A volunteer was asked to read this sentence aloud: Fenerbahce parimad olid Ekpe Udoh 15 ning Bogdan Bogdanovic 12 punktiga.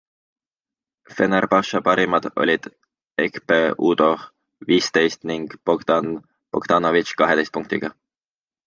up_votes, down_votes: 0, 2